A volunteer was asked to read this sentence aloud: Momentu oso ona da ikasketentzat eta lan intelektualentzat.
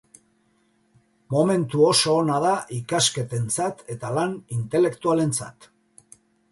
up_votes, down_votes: 2, 0